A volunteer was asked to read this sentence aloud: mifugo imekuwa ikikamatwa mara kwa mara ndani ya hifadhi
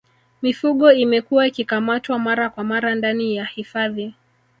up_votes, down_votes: 2, 0